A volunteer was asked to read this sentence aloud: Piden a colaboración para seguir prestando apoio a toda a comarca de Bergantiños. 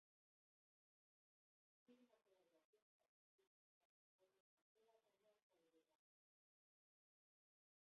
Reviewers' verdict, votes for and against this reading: rejected, 0, 2